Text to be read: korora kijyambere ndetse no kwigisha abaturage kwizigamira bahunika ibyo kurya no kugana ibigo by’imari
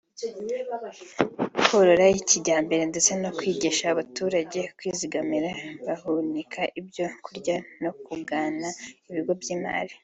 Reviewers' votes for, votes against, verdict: 2, 0, accepted